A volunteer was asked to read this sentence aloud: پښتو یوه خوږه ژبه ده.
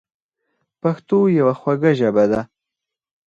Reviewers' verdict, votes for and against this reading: rejected, 0, 4